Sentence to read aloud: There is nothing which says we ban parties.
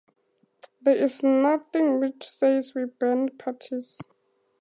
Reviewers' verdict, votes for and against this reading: accepted, 2, 0